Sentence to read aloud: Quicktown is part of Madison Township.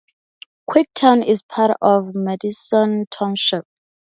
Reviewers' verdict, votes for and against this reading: accepted, 4, 2